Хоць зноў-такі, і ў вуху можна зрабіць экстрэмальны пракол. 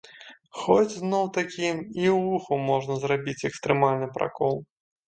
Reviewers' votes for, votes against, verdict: 2, 0, accepted